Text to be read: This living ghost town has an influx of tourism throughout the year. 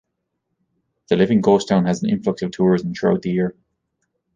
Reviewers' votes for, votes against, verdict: 1, 2, rejected